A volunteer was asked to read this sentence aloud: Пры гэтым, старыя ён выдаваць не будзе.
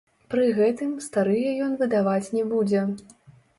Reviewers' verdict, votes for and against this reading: rejected, 1, 2